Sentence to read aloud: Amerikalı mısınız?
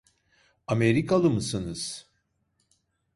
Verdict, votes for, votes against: rejected, 1, 2